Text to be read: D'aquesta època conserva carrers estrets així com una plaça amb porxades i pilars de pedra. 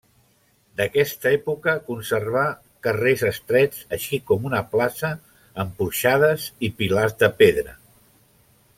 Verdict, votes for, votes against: rejected, 1, 2